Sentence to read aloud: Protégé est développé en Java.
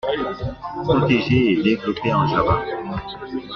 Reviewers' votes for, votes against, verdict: 2, 1, accepted